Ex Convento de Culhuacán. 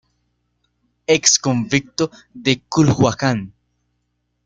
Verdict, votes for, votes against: rejected, 0, 2